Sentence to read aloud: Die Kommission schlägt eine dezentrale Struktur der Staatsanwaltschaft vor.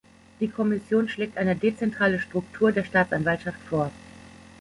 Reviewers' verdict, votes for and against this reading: accepted, 2, 1